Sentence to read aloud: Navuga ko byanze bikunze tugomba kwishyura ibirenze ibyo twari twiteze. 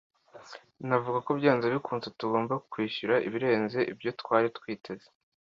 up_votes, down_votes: 2, 0